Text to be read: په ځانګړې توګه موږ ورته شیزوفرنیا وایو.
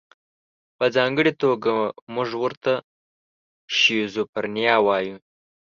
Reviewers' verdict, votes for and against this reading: accepted, 3, 0